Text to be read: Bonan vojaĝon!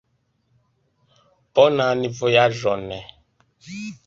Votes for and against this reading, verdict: 1, 2, rejected